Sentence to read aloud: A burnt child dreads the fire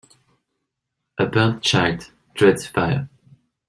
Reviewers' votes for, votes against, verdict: 0, 2, rejected